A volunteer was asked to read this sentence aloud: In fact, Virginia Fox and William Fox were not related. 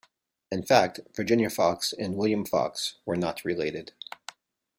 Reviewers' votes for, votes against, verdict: 2, 0, accepted